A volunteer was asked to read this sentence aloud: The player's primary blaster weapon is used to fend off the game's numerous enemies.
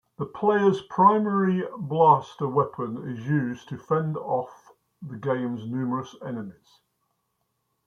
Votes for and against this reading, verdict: 2, 1, accepted